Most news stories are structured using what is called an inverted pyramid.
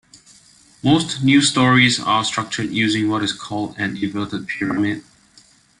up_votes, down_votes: 2, 0